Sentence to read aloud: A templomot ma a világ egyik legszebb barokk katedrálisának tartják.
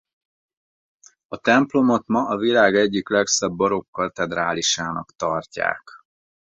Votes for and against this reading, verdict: 4, 0, accepted